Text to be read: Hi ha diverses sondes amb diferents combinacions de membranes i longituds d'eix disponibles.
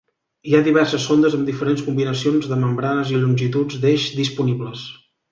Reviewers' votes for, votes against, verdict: 2, 0, accepted